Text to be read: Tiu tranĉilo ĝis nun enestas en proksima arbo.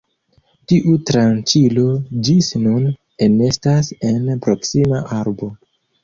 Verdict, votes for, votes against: accepted, 2, 0